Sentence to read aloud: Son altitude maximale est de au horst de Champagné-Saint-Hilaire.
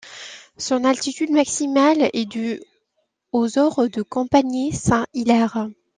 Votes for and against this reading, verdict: 2, 0, accepted